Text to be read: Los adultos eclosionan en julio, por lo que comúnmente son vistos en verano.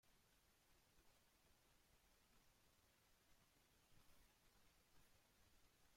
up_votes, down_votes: 0, 2